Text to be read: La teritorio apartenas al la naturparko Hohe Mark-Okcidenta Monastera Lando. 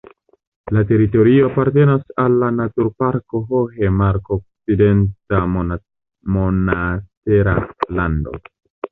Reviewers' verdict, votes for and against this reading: rejected, 1, 2